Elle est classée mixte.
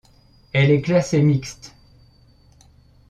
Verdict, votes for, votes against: accepted, 2, 0